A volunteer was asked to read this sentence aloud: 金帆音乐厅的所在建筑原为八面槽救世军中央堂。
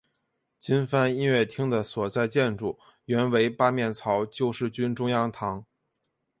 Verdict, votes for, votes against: accepted, 2, 0